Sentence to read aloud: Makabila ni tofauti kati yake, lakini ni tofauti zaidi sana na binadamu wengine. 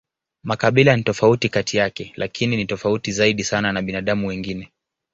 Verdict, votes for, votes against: accepted, 2, 0